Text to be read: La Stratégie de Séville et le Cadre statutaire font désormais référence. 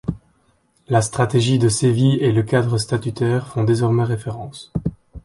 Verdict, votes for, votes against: accepted, 2, 0